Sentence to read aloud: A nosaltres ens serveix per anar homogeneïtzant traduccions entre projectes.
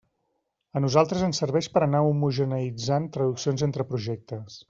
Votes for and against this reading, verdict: 2, 0, accepted